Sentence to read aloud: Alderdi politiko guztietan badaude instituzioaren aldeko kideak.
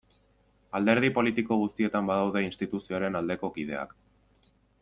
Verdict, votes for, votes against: accepted, 2, 0